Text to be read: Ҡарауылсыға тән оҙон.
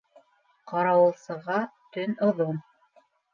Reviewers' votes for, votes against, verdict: 1, 2, rejected